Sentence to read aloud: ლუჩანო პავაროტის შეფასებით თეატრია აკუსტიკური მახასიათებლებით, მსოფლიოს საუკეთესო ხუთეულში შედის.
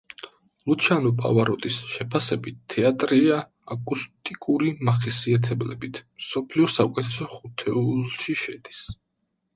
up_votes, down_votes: 0, 2